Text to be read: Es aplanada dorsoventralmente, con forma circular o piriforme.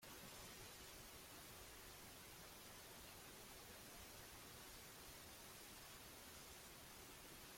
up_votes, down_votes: 0, 2